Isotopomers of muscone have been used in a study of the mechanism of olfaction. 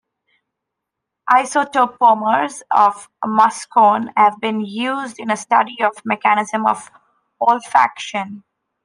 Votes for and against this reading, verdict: 2, 0, accepted